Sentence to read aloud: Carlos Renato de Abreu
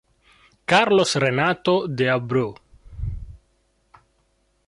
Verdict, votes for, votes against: accepted, 2, 0